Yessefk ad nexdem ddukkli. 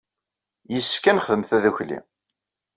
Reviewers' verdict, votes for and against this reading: rejected, 1, 2